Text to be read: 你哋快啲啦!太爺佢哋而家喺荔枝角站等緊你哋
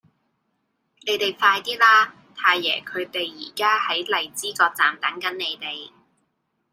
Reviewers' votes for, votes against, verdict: 2, 0, accepted